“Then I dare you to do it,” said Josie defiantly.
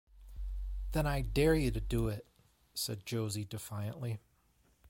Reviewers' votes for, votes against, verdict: 2, 0, accepted